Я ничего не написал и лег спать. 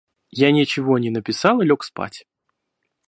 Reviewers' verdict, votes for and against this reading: accepted, 2, 0